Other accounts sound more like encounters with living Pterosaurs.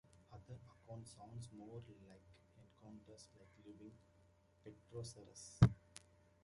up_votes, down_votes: 0, 2